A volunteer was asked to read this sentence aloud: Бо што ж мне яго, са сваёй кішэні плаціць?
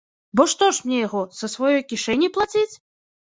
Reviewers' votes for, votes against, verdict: 2, 0, accepted